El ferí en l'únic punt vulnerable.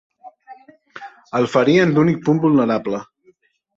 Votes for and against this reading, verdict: 2, 3, rejected